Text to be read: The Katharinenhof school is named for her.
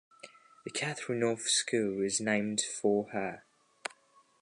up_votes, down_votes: 1, 2